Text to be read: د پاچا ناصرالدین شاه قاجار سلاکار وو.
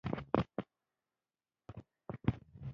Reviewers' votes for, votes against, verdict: 0, 2, rejected